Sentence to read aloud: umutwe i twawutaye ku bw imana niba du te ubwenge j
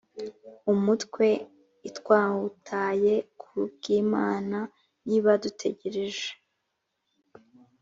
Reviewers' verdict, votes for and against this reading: rejected, 1, 2